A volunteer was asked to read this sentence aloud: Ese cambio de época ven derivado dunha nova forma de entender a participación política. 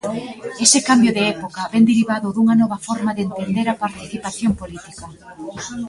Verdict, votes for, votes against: rejected, 1, 2